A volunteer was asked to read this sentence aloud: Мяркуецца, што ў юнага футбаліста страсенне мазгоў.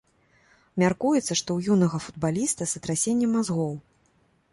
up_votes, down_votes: 1, 2